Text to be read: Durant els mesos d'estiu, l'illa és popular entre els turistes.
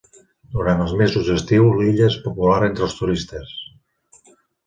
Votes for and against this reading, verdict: 2, 0, accepted